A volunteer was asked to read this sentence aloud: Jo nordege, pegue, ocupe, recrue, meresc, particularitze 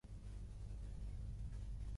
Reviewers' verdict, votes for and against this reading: rejected, 0, 2